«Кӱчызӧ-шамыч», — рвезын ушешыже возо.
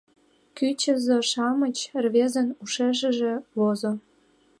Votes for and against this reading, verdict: 2, 1, accepted